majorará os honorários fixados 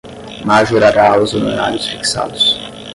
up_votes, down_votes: 5, 5